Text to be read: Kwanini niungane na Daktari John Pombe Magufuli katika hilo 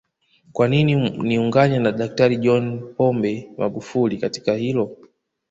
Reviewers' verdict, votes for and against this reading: rejected, 0, 2